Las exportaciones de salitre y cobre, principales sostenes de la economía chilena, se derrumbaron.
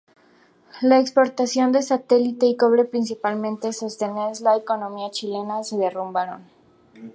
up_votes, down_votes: 0, 2